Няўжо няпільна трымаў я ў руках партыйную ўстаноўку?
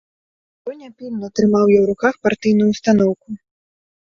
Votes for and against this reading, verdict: 0, 2, rejected